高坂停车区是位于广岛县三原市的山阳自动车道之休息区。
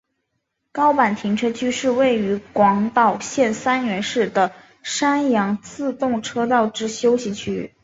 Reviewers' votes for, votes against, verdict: 2, 0, accepted